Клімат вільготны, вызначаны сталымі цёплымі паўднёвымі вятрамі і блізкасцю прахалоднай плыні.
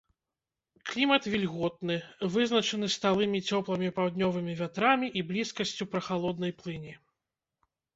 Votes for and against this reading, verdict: 0, 2, rejected